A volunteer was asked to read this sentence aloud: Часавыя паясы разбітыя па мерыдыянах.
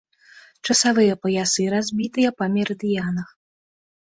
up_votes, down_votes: 2, 0